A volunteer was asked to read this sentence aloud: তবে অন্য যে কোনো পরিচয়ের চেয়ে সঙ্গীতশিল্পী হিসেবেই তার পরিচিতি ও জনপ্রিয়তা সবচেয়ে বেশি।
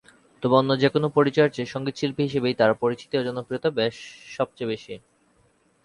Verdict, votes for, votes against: rejected, 2, 4